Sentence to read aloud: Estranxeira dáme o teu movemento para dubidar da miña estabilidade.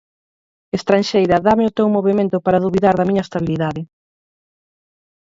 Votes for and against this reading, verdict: 4, 2, accepted